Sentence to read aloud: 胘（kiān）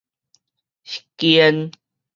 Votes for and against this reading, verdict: 2, 2, rejected